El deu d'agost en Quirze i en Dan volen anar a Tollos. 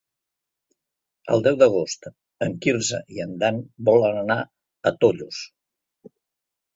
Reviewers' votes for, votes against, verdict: 3, 0, accepted